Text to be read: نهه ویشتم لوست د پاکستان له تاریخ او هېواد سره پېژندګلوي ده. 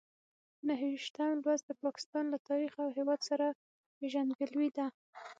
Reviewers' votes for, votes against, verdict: 3, 6, rejected